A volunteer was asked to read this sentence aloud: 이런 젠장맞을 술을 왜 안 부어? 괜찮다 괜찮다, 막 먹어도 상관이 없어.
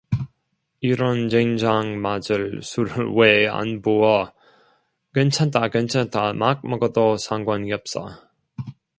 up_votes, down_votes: 1, 2